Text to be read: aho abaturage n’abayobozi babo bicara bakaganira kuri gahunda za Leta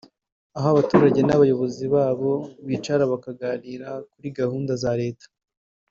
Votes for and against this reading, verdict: 2, 0, accepted